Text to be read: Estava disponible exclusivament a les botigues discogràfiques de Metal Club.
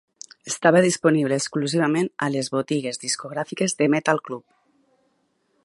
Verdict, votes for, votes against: accepted, 3, 0